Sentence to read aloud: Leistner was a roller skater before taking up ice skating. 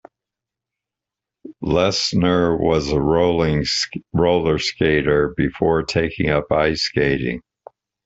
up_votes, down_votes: 1, 2